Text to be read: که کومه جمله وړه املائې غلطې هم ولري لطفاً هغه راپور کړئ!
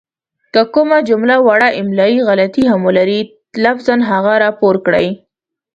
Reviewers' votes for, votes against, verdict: 0, 2, rejected